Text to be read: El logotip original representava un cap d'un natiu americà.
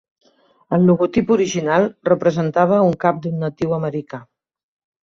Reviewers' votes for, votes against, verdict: 2, 0, accepted